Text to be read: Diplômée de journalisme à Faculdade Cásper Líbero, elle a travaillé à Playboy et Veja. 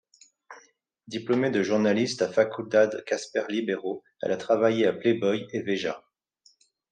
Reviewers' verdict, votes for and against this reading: accepted, 2, 0